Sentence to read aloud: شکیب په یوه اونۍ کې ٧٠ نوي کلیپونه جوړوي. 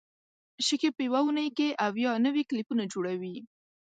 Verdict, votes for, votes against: rejected, 0, 2